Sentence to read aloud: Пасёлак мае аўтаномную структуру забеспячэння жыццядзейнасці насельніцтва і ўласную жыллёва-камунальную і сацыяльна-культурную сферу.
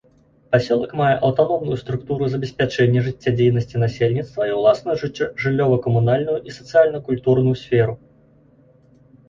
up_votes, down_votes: 1, 2